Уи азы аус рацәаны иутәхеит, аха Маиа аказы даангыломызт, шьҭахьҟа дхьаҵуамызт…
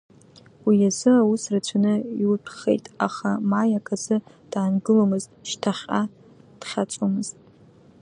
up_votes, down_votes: 2, 0